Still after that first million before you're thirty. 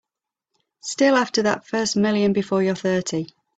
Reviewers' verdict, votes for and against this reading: accepted, 3, 0